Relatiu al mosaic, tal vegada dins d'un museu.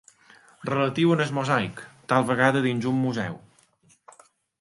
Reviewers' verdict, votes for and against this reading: rejected, 1, 3